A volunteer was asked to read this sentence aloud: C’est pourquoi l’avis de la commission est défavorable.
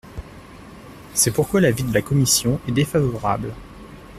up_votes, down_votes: 2, 0